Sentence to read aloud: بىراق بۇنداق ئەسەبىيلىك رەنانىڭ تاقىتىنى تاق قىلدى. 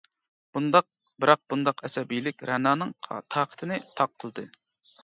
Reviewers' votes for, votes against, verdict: 0, 2, rejected